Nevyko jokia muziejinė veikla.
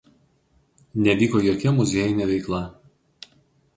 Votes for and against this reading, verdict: 4, 0, accepted